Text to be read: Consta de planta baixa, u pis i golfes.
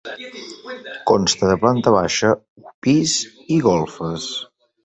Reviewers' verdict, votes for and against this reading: rejected, 0, 2